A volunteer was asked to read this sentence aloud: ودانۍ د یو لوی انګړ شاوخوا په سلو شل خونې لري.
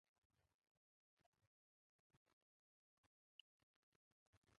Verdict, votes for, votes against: rejected, 0, 2